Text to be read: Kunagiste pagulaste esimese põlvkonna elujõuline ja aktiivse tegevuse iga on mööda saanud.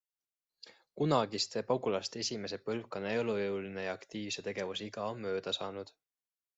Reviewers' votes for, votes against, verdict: 2, 0, accepted